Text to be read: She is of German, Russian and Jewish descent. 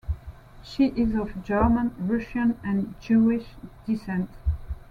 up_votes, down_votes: 1, 2